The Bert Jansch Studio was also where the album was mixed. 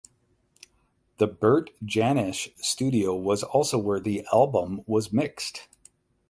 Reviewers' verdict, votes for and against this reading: rejected, 4, 4